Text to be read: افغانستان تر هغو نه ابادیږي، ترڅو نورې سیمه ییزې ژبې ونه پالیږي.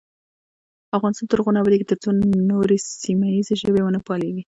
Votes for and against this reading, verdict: 2, 0, accepted